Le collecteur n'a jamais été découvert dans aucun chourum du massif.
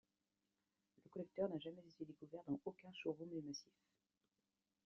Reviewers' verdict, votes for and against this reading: accepted, 2, 0